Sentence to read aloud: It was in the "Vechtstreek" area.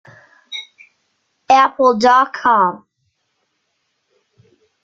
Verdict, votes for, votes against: rejected, 0, 2